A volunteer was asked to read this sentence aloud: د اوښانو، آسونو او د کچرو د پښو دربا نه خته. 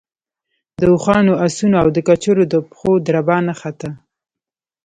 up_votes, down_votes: 0, 2